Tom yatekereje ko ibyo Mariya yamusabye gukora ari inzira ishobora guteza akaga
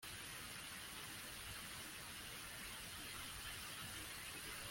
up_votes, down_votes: 0, 2